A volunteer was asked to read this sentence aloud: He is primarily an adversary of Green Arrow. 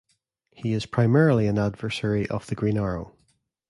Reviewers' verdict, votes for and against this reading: rejected, 1, 2